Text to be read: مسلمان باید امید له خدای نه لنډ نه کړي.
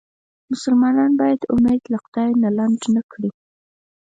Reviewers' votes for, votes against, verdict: 4, 0, accepted